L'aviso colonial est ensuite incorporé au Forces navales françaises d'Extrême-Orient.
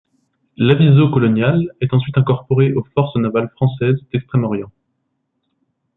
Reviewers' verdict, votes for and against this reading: accepted, 2, 1